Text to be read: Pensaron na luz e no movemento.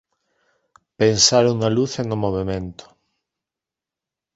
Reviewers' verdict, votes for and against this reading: accepted, 2, 0